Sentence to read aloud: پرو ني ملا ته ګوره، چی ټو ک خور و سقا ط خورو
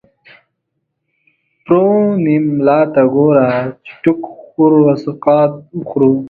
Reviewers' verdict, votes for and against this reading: rejected, 0, 2